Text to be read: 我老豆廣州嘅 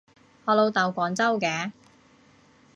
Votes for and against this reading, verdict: 2, 0, accepted